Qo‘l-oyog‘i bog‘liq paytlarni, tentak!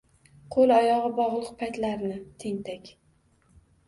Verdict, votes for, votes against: accepted, 2, 0